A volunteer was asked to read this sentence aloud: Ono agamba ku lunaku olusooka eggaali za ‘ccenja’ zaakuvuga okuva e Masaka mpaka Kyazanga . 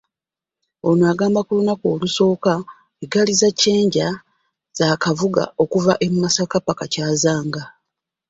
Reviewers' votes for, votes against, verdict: 0, 2, rejected